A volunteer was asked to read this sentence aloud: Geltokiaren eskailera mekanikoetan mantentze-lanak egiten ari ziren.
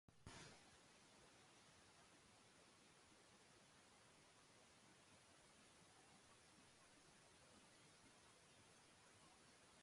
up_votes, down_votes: 0, 2